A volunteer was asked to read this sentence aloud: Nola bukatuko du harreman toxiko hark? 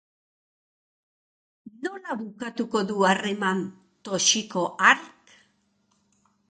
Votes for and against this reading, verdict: 2, 1, accepted